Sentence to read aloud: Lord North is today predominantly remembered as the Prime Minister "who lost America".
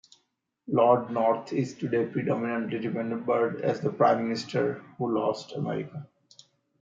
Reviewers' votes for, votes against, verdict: 2, 1, accepted